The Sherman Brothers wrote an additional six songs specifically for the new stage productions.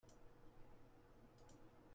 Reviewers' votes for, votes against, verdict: 0, 2, rejected